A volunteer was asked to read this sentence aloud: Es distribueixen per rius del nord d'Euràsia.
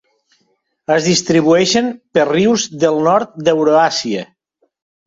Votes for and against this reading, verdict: 1, 2, rejected